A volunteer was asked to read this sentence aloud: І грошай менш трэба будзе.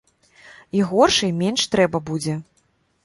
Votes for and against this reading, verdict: 0, 2, rejected